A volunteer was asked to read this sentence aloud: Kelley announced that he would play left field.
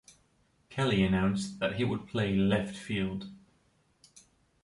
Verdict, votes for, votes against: accepted, 2, 0